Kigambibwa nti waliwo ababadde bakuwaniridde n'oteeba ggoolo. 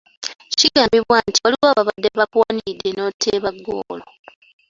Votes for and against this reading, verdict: 2, 0, accepted